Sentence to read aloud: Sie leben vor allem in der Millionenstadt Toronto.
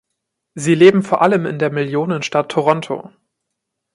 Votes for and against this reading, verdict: 2, 0, accepted